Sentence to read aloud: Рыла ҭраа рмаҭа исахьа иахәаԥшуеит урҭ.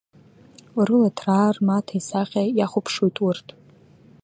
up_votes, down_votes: 2, 0